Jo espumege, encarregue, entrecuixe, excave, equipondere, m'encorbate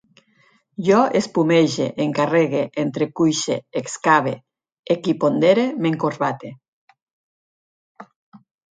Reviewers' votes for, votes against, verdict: 4, 0, accepted